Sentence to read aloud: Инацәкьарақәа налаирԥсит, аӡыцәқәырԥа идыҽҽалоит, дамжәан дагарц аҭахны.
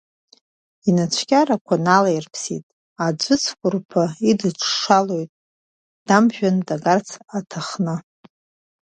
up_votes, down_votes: 0, 2